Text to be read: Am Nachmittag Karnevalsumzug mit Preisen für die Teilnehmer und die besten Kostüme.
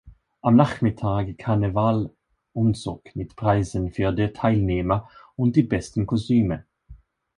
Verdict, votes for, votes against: rejected, 0, 2